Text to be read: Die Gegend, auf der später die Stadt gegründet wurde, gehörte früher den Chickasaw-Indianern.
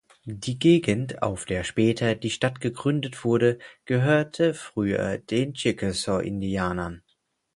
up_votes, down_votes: 4, 0